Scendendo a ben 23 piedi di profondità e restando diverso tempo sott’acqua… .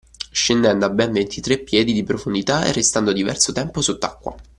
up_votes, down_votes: 0, 2